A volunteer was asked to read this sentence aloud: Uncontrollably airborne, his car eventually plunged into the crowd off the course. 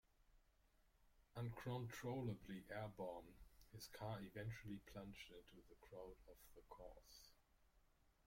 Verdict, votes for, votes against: rejected, 1, 2